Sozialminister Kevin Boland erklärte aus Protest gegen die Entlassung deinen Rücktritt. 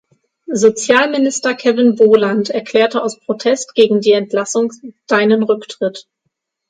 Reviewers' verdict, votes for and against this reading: rejected, 3, 6